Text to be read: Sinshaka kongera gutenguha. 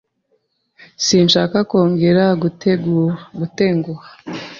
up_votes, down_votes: 0, 2